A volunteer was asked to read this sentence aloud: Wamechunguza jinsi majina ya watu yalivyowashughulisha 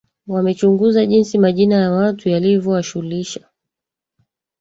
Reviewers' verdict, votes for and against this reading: rejected, 1, 2